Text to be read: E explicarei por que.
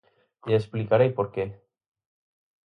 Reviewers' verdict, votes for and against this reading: accepted, 4, 0